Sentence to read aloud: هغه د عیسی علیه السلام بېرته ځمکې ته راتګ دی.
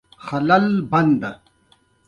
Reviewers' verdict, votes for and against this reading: accepted, 2, 0